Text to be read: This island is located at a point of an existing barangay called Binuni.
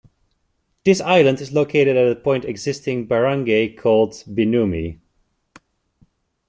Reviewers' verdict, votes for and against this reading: rejected, 0, 2